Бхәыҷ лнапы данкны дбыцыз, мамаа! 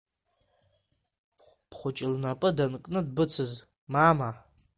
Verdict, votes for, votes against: accepted, 3, 1